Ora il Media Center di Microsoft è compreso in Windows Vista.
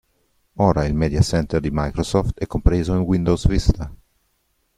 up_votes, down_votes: 2, 0